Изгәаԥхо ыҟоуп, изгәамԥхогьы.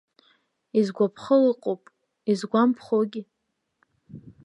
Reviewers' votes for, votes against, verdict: 2, 0, accepted